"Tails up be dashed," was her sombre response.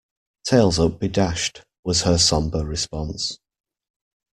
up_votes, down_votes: 2, 0